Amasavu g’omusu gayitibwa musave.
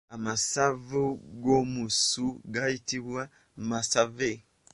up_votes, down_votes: 0, 2